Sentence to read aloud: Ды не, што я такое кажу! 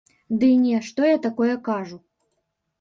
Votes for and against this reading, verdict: 0, 3, rejected